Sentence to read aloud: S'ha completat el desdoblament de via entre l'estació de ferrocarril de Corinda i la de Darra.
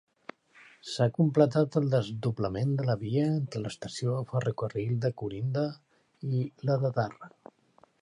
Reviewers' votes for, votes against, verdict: 2, 1, accepted